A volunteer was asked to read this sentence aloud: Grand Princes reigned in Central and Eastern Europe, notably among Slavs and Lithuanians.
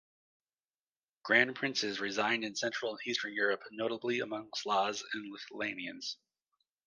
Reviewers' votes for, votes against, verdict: 0, 2, rejected